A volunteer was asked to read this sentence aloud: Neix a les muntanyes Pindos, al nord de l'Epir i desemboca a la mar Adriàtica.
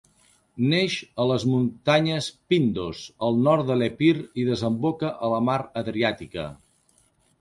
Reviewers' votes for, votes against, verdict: 4, 0, accepted